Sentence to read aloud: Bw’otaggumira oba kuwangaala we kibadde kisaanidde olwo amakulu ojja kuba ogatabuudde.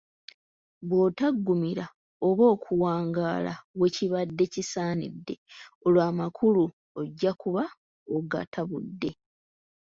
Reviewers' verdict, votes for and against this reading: accepted, 3, 0